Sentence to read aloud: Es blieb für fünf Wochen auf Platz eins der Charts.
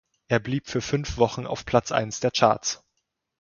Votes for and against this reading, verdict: 2, 0, accepted